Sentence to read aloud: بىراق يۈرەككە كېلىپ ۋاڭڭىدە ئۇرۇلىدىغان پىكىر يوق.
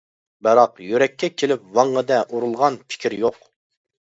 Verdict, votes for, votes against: rejected, 0, 2